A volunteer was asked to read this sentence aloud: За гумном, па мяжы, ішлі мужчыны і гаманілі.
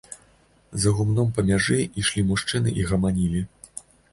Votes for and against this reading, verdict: 2, 0, accepted